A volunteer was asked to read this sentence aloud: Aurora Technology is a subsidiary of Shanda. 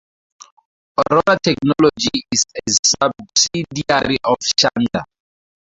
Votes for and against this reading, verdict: 0, 2, rejected